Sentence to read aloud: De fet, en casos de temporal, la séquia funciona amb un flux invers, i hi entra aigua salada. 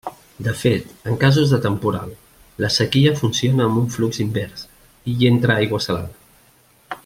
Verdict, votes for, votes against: rejected, 1, 2